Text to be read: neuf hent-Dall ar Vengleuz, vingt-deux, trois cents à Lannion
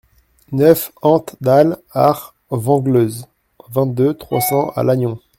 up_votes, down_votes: 1, 2